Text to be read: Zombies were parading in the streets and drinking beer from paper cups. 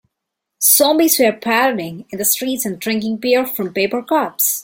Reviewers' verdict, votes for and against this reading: rejected, 1, 2